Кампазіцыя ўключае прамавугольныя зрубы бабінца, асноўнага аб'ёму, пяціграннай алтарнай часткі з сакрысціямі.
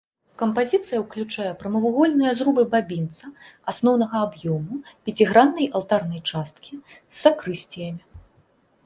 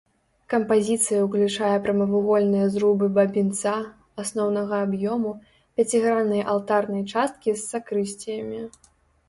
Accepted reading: first